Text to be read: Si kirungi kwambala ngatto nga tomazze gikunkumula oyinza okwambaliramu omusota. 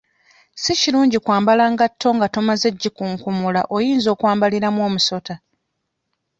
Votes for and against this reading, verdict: 2, 0, accepted